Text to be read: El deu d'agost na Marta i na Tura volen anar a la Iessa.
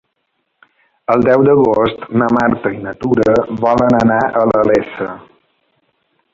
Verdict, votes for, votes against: accepted, 2, 0